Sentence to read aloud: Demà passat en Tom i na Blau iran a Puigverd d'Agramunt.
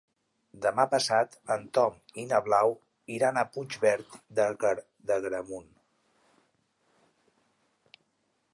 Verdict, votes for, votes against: rejected, 1, 3